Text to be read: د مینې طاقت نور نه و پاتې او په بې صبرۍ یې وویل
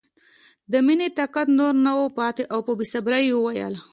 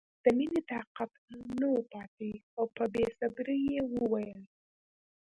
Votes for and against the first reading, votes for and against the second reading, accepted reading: 2, 0, 1, 2, first